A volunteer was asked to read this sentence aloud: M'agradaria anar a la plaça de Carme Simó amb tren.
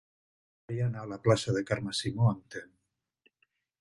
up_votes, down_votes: 0, 2